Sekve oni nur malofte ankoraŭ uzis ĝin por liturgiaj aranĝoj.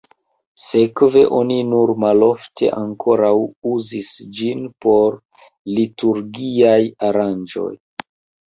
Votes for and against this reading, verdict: 1, 3, rejected